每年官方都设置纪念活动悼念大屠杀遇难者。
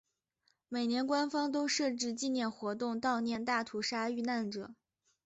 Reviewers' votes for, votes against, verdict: 2, 1, accepted